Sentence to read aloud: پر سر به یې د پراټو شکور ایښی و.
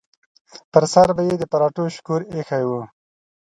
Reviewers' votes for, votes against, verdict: 2, 0, accepted